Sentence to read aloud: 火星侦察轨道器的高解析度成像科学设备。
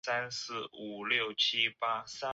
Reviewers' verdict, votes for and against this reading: rejected, 0, 2